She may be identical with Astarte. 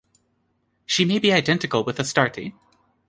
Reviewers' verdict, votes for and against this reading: accepted, 2, 0